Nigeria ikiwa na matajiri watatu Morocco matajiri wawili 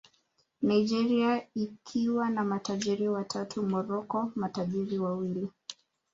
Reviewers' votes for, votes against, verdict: 1, 2, rejected